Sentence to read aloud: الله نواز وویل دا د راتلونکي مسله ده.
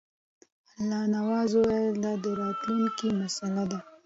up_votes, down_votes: 2, 0